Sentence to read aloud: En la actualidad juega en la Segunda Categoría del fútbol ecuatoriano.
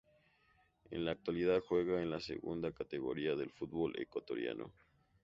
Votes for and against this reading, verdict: 2, 0, accepted